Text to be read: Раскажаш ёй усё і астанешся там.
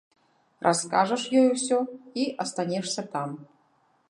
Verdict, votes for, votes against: rejected, 0, 2